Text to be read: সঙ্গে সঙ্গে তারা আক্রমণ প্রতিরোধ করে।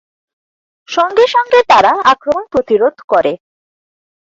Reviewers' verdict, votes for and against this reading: accepted, 4, 0